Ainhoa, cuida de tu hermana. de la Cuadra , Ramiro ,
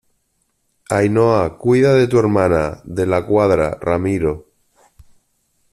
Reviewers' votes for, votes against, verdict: 2, 0, accepted